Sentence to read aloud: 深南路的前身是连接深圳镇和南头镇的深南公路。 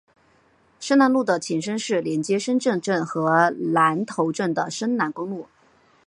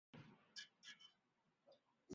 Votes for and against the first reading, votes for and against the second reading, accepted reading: 2, 1, 0, 2, first